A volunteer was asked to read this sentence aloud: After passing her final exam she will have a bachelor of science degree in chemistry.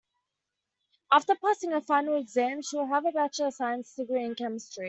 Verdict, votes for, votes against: rejected, 0, 2